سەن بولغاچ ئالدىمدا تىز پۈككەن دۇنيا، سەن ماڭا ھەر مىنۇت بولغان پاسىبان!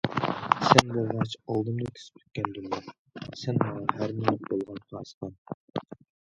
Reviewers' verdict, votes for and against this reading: rejected, 0, 2